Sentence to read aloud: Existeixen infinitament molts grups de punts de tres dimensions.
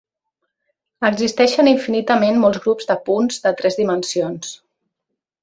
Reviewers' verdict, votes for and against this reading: accepted, 2, 0